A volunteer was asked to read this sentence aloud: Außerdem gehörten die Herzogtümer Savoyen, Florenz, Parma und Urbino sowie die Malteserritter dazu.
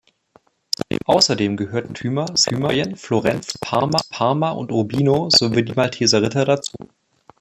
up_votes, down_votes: 0, 2